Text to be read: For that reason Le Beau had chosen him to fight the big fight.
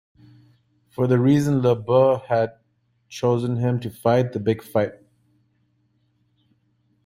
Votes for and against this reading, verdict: 0, 2, rejected